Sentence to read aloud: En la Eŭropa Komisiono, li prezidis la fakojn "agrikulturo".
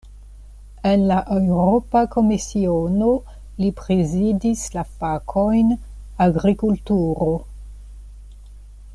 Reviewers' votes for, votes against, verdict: 2, 0, accepted